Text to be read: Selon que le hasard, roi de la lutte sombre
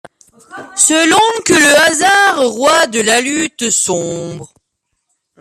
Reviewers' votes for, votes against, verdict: 0, 2, rejected